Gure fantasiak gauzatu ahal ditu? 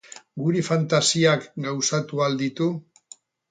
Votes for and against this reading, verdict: 0, 4, rejected